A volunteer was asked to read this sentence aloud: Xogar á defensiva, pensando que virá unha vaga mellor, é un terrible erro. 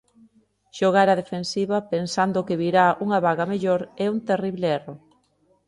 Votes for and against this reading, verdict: 3, 0, accepted